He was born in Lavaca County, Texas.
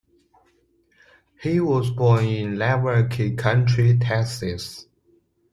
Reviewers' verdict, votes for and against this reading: rejected, 0, 2